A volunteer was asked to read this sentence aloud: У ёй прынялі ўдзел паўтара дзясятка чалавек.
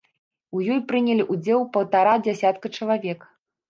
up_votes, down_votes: 1, 2